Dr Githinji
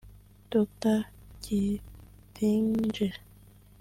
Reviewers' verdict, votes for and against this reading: rejected, 0, 2